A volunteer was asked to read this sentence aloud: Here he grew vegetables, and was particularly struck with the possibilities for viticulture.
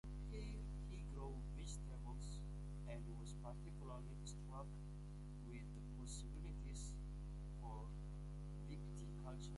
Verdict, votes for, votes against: rejected, 0, 2